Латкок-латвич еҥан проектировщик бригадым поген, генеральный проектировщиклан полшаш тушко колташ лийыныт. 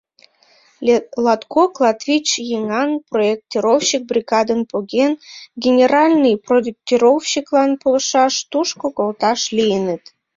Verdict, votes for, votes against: rejected, 3, 4